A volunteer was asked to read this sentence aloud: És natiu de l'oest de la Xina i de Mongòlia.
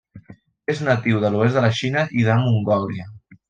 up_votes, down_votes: 2, 0